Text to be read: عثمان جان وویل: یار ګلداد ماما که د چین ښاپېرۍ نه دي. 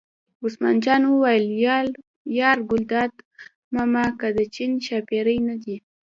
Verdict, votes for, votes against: rejected, 1, 2